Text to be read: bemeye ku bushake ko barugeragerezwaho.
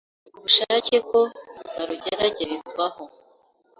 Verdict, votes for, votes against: rejected, 1, 2